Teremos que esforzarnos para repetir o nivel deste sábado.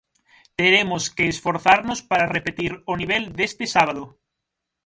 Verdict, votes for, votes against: accepted, 6, 0